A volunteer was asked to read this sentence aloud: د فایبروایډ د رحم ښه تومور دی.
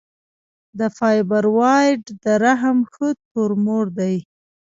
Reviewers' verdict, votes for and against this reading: accepted, 2, 0